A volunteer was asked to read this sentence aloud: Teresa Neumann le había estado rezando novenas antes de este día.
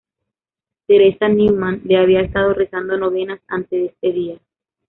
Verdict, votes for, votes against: rejected, 1, 2